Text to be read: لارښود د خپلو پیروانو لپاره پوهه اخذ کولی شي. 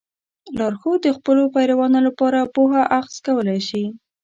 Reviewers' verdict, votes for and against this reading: accepted, 2, 0